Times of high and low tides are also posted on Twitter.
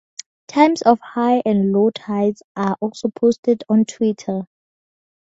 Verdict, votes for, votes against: accepted, 2, 0